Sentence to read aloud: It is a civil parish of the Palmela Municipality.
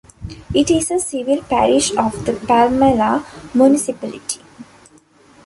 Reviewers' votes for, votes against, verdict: 2, 0, accepted